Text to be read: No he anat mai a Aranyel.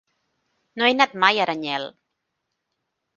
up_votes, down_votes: 3, 0